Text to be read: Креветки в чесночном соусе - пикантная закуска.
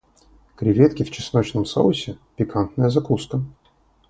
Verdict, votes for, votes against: rejected, 0, 2